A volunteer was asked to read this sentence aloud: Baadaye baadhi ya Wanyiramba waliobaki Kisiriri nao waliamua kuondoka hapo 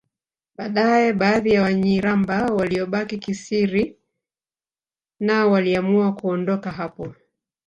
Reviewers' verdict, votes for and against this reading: rejected, 0, 2